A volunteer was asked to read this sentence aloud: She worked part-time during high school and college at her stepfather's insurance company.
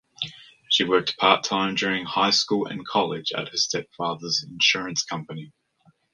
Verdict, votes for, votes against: accepted, 2, 0